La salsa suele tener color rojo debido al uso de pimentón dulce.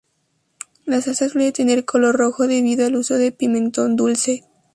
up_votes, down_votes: 2, 0